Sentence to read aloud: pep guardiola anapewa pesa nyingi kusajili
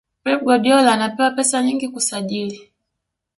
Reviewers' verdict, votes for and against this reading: accepted, 2, 1